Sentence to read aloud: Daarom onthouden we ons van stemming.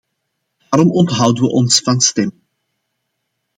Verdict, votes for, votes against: rejected, 1, 2